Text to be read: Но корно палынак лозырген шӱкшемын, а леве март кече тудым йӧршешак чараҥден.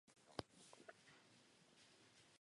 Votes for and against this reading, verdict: 0, 2, rejected